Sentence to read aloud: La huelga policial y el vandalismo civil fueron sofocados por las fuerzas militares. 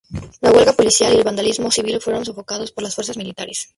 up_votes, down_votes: 4, 0